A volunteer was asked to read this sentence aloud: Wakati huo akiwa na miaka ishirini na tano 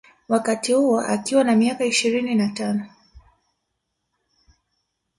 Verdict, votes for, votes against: accepted, 2, 0